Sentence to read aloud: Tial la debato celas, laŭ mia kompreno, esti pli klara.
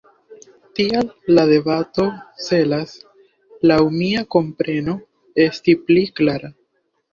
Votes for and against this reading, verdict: 1, 2, rejected